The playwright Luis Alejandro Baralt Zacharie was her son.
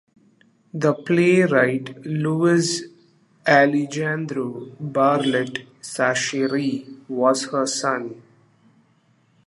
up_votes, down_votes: 0, 2